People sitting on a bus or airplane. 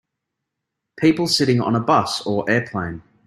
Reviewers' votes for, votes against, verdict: 2, 0, accepted